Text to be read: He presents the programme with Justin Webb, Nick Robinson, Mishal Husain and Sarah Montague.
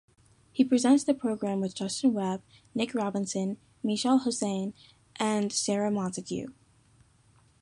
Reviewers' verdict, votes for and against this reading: accepted, 2, 0